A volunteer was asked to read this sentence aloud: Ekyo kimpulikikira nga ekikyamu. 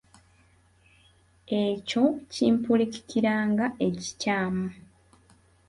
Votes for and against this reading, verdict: 3, 0, accepted